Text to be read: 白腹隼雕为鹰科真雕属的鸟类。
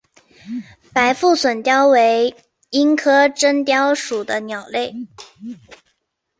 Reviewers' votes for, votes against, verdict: 0, 2, rejected